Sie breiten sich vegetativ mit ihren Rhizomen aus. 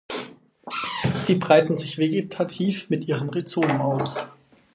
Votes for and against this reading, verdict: 2, 4, rejected